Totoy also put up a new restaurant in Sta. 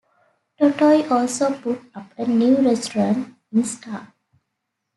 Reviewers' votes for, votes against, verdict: 2, 0, accepted